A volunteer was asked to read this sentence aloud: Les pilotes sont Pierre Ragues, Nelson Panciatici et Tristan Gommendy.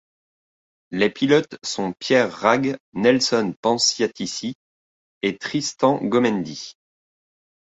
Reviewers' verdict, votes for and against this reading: accepted, 2, 0